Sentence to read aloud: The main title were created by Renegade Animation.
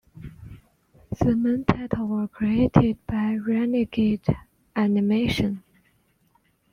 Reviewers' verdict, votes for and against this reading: accepted, 2, 0